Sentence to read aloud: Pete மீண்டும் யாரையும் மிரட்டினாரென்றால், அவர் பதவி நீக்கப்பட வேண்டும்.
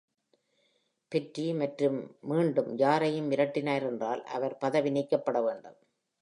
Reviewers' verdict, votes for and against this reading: rejected, 0, 2